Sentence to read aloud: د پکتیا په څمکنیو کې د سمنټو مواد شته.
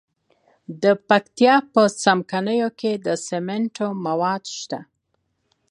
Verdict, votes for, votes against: accepted, 2, 1